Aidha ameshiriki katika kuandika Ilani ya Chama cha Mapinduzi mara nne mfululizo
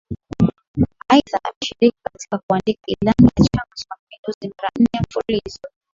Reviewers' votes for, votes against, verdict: 3, 1, accepted